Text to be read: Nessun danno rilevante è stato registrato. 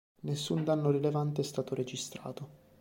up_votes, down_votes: 2, 0